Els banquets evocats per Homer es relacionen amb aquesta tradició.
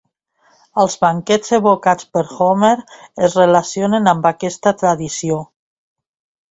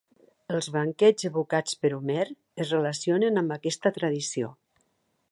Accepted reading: second